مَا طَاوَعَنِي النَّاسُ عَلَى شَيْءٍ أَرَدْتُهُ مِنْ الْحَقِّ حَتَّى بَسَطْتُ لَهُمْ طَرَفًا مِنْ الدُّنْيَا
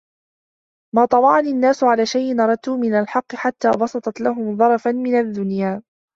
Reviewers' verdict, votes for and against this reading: rejected, 0, 2